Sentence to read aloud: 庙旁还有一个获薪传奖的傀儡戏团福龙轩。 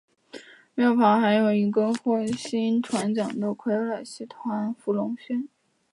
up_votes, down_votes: 1, 2